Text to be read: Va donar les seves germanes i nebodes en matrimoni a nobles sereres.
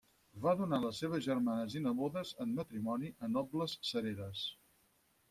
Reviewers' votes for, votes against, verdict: 2, 4, rejected